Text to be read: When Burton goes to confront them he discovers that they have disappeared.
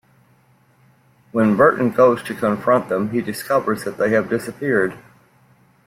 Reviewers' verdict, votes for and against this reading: accepted, 2, 0